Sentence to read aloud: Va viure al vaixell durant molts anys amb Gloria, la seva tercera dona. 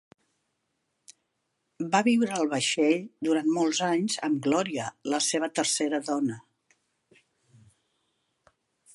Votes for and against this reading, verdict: 4, 0, accepted